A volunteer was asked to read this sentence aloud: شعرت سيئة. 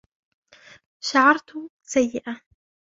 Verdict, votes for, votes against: rejected, 0, 2